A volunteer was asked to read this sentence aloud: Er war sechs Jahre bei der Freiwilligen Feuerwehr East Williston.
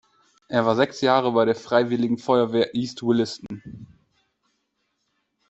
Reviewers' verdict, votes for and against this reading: accepted, 2, 0